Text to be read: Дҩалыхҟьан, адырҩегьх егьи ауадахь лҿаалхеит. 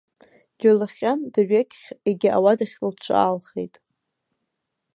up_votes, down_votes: 0, 2